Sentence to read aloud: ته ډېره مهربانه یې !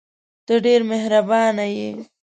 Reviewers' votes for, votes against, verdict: 0, 2, rejected